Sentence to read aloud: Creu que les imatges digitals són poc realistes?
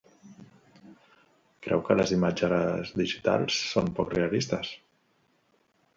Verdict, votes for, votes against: rejected, 0, 3